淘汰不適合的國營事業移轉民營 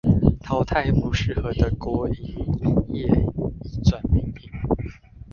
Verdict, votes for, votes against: rejected, 0, 2